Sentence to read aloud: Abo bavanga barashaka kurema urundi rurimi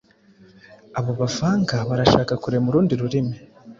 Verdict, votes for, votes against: accepted, 2, 0